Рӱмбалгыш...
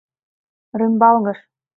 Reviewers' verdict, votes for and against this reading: accepted, 2, 0